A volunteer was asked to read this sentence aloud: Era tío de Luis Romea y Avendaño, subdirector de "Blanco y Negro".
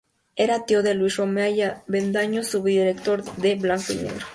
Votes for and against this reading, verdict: 2, 0, accepted